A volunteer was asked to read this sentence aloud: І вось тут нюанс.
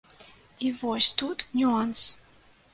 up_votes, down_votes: 2, 0